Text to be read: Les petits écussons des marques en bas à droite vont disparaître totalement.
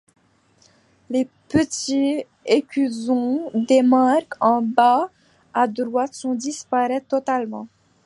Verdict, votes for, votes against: rejected, 1, 2